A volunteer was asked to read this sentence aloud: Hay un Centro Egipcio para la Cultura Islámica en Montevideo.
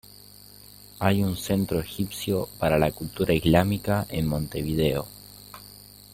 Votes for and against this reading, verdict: 2, 0, accepted